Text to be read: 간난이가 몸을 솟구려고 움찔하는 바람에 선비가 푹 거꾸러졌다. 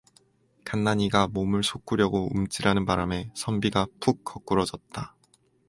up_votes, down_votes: 4, 0